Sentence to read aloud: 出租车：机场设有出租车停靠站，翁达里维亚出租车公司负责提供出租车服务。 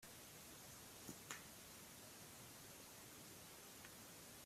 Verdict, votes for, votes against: rejected, 0, 2